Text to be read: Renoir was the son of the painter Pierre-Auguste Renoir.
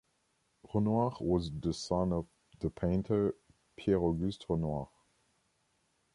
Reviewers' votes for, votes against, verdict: 1, 2, rejected